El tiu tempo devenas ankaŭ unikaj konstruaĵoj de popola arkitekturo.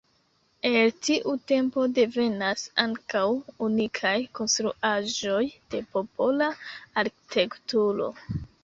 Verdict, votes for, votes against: accepted, 2, 0